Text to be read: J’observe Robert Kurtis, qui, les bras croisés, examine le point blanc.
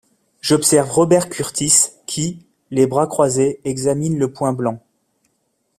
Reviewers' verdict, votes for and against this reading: accepted, 2, 1